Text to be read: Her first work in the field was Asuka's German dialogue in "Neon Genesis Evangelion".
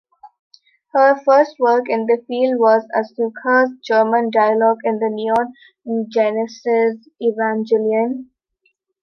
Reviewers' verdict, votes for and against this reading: accepted, 2, 1